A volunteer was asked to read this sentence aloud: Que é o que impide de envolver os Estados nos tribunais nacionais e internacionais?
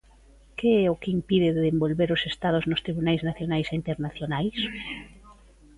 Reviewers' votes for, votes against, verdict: 2, 0, accepted